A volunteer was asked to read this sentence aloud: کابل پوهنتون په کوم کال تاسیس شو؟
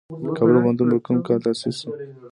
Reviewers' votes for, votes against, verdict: 1, 2, rejected